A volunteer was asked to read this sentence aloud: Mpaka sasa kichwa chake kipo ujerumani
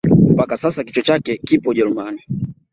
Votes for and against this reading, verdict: 2, 0, accepted